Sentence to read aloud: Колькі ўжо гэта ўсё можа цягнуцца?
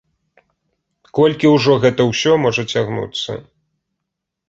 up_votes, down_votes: 2, 0